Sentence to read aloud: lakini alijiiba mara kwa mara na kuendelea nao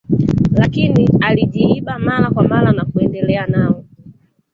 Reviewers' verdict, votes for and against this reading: rejected, 1, 2